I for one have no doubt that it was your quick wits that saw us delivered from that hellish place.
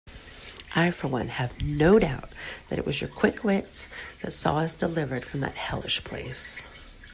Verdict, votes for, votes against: accepted, 2, 1